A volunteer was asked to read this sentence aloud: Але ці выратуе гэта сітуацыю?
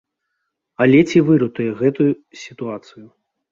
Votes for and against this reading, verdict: 0, 2, rejected